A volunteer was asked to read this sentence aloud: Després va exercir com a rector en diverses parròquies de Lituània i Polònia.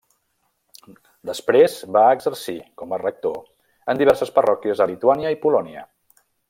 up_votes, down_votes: 1, 2